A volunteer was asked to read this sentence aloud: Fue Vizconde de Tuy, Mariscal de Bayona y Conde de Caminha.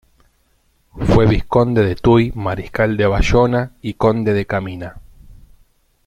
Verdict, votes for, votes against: rejected, 0, 2